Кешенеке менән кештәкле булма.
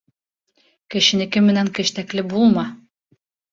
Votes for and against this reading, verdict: 2, 0, accepted